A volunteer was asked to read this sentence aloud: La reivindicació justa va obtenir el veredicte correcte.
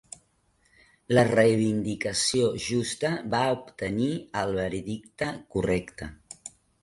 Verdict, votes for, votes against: rejected, 2, 3